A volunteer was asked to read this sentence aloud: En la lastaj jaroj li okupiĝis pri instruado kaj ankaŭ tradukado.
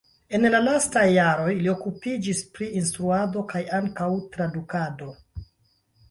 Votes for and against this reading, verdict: 0, 2, rejected